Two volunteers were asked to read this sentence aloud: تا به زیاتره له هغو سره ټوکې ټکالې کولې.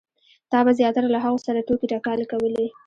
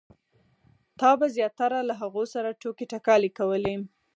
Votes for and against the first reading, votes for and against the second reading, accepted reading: 1, 2, 4, 0, second